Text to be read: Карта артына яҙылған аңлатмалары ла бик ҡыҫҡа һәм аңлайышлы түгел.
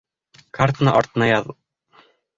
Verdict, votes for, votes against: rejected, 0, 2